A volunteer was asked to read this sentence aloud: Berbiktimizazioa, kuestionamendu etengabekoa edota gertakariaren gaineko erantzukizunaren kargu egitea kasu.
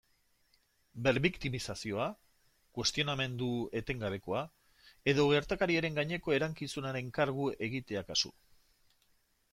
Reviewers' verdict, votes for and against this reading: rejected, 0, 2